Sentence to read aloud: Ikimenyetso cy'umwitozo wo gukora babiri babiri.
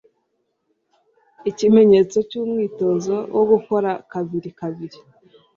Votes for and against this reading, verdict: 1, 2, rejected